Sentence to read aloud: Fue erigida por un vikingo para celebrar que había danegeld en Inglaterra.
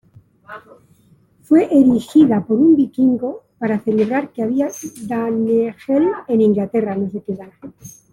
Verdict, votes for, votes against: rejected, 1, 2